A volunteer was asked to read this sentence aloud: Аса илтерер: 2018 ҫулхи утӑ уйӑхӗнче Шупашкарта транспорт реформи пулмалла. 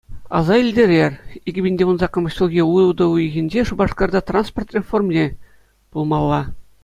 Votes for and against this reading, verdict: 0, 2, rejected